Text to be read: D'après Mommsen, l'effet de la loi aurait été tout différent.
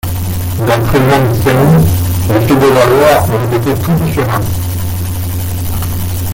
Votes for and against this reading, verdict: 0, 2, rejected